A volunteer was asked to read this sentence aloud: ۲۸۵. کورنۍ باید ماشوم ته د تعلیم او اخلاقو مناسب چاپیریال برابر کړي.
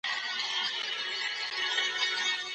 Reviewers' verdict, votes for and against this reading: rejected, 0, 2